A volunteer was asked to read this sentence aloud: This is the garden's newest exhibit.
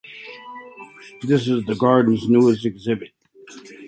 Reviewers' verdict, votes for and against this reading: accepted, 2, 0